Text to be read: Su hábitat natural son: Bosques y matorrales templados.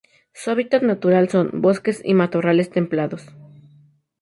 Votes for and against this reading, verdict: 2, 0, accepted